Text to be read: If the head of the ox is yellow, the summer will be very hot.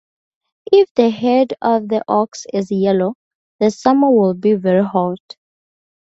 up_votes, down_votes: 2, 0